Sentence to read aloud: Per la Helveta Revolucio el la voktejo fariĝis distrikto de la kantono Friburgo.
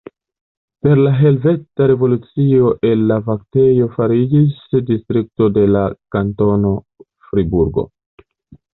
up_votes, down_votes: 1, 2